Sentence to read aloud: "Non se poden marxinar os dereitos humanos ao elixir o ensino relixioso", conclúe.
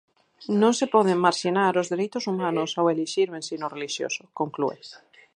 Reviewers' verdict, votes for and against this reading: rejected, 2, 2